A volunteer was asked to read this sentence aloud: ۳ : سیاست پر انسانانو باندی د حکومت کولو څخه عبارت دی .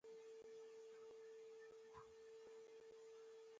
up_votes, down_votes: 0, 2